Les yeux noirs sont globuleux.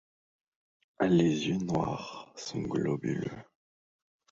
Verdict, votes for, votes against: rejected, 1, 2